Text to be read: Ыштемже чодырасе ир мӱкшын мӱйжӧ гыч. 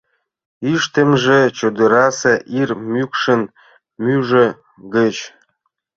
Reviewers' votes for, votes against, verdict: 0, 2, rejected